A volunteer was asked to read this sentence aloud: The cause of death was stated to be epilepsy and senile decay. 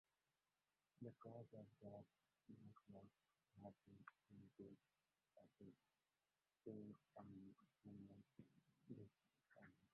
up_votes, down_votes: 0, 2